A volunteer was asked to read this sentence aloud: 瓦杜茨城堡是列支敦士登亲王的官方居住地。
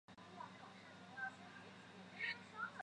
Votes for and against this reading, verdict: 0, 4, rejected